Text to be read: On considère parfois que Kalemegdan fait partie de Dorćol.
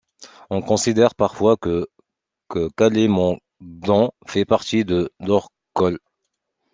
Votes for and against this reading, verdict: 0, 2, rejected